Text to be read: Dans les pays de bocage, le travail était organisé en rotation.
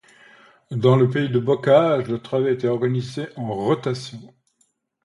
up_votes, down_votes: 2, 0